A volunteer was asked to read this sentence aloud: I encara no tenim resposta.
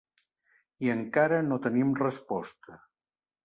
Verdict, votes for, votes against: accepted, 3, 0